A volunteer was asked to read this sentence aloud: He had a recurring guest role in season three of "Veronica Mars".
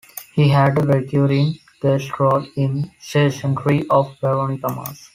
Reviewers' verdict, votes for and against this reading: rejected, 0, 2